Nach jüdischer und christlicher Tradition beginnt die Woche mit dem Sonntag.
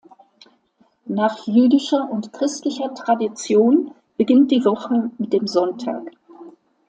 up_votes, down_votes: 2, 0